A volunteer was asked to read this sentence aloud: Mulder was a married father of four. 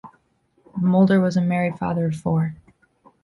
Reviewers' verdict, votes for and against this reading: accepted, 3, 0